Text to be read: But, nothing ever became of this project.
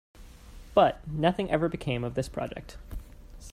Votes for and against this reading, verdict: 2, 0, accepted